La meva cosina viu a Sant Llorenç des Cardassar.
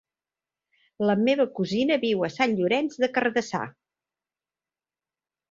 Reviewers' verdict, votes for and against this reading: accepted, 2, 1